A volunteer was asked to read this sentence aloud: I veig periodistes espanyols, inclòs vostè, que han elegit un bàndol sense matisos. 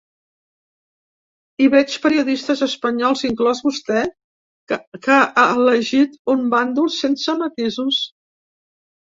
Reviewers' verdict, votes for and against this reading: rejected, 0, 2